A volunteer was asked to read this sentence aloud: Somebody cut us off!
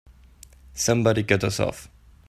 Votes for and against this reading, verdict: 3, 0, accepted